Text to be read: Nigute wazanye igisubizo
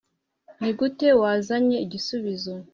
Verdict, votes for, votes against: accepted, 2, 1